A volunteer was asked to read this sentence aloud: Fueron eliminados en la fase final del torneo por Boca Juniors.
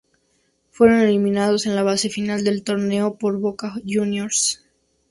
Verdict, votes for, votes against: rejected, 0, 2